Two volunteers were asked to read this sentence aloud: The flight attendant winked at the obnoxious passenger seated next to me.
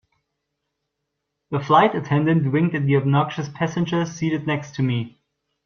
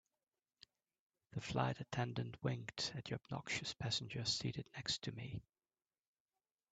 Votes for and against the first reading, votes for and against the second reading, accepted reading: 1, 2, 3, 1, second